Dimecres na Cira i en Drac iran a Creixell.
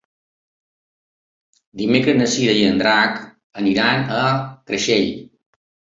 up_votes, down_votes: 2, 1